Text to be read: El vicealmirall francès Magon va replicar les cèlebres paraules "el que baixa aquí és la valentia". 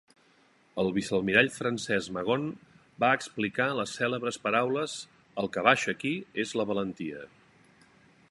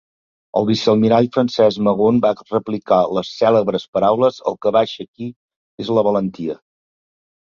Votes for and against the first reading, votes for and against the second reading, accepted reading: 0, 2, 2, 0, second